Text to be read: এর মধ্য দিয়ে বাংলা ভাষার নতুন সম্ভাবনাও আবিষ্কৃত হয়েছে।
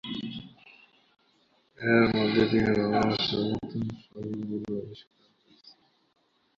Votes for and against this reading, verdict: 0, 3, rejected